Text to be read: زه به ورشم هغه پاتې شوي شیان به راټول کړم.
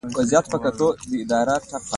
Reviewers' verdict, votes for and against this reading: accepted, 2, 1